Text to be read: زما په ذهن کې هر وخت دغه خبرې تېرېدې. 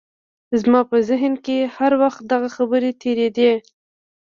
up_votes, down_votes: 1, 2